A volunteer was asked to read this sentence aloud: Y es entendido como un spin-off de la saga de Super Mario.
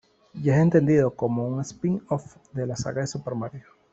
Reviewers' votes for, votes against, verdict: 1, 2, rejected